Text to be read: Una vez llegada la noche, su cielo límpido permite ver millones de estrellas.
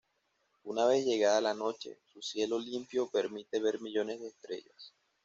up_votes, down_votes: 1, 2